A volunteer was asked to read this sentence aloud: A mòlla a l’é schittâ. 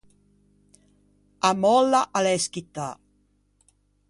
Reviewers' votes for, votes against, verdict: 2, 0, accepted